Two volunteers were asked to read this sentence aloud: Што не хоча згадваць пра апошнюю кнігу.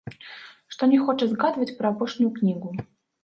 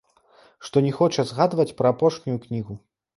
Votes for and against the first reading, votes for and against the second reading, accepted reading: 0, 2, 2, 0, second